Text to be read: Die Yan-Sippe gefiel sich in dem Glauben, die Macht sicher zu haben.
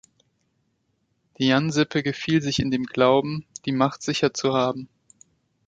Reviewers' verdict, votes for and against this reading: accepted, 2, 0